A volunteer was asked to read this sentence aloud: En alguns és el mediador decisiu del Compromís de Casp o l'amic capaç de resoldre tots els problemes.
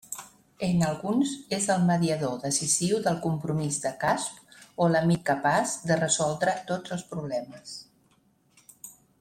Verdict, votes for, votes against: rejected, 1, 2